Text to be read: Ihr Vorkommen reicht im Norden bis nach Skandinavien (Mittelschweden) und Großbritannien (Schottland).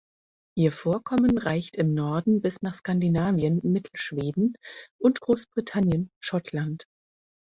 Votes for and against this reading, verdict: 2, 4, rejected